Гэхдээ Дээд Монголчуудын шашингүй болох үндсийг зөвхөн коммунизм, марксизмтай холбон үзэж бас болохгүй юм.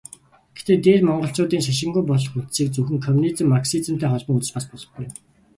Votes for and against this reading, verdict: 2, 0, accepted